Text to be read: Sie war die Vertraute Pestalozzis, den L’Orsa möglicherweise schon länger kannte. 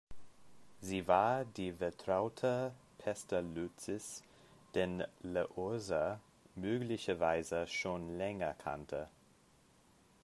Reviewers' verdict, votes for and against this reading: rejected, 0, 2